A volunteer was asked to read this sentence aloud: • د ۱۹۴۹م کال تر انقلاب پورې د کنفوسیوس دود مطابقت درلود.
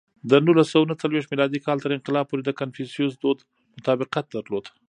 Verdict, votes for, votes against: rejected, 0, 2